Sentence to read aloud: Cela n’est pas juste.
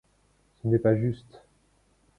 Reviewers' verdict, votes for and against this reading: rejected, 1, 2